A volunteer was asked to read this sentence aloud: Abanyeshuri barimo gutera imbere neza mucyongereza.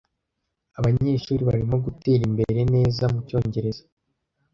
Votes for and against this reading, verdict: 2, 0, accepted